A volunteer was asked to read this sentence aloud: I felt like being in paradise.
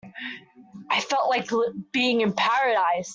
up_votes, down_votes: 0, 2